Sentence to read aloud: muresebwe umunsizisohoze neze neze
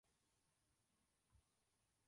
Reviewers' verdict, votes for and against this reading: rejected, 0, 2